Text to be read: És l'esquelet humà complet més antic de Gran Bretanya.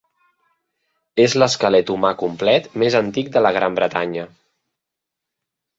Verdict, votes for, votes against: rejected, 0, 2